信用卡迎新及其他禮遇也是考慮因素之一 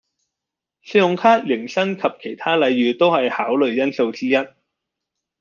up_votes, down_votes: 0, 2